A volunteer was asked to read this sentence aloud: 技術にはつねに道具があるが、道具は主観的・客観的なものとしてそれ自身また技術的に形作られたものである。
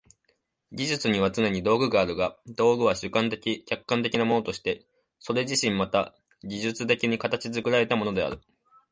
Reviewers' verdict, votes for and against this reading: accepted, 2, 1